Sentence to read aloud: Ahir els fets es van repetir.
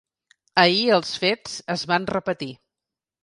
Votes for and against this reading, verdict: 2, 0, accepted